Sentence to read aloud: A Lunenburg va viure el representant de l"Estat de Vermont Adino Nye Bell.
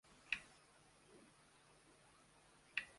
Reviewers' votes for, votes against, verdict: 0, 2, rejected